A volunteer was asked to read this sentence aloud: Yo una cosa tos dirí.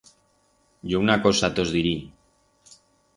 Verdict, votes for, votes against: accepted, 4, 0